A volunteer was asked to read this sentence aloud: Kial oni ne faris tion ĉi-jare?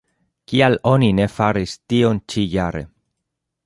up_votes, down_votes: 2, 0